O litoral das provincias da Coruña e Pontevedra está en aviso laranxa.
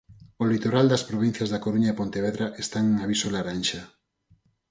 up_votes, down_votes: 2, 2